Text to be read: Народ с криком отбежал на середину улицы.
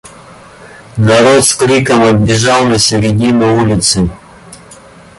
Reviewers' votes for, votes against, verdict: 1, 2, rejected